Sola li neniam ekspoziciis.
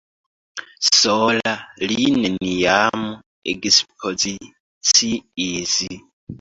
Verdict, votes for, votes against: rejected, 1, 2